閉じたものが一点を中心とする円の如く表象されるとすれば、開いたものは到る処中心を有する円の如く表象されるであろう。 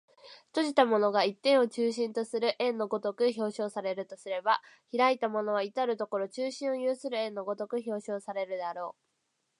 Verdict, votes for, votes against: accepted, 4, 0